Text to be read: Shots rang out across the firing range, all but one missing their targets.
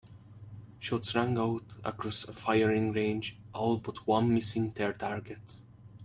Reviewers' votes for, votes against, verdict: 2, 0, accepted